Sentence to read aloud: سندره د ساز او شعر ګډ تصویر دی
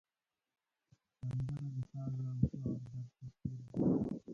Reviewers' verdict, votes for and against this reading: rejected, 1, 2